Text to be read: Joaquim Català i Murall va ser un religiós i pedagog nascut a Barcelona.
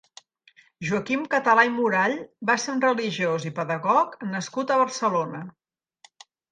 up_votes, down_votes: 2, 0